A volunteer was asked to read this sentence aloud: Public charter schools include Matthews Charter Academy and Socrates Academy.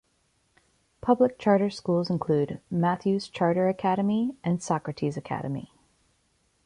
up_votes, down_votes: 3, 0